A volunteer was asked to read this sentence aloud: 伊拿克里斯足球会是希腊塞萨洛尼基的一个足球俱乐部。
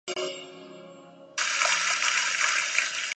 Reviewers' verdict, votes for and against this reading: rejected, 0, 2